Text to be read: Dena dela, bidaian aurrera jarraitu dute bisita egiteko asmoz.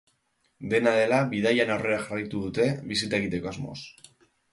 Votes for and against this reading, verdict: 2, 0, accepted